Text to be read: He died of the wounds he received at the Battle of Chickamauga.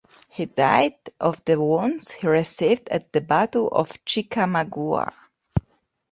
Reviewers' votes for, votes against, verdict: 3, 0, accepted